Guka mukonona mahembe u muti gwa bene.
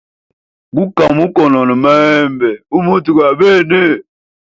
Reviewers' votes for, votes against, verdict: 2, 1, accepted